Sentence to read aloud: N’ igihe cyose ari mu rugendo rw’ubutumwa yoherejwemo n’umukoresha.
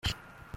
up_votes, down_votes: 0, 2